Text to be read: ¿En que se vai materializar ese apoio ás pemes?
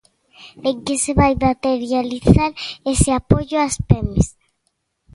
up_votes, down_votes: 2, 0